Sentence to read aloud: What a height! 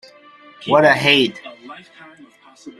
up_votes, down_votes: 0, 3